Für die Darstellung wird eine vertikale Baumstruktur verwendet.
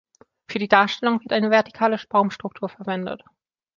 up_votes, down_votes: 1, 2